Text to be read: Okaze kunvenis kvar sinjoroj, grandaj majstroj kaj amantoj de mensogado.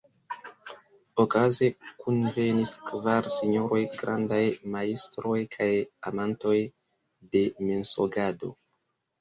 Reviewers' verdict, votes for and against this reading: rejected, 1, 2